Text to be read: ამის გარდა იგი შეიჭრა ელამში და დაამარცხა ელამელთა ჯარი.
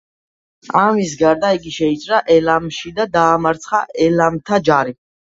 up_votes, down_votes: 0, 2